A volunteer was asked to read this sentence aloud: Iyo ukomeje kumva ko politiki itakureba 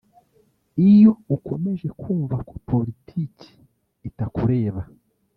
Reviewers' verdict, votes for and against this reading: rejected, 1, 2